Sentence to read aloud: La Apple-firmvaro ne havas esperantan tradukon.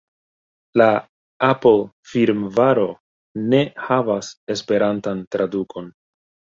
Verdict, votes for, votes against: accepted, 2, 0